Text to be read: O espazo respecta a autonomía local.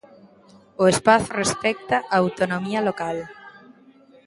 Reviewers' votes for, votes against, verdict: 1, 2, rejected